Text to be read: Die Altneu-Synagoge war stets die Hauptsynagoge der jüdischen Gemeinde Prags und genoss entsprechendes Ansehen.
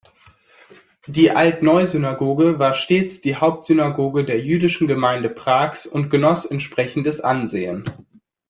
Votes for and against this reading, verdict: 2, 0, accepted